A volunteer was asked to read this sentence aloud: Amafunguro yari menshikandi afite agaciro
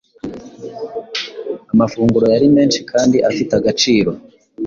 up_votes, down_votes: 2, 0